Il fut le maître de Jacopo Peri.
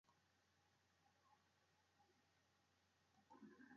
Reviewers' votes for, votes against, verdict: 1, 2, rejected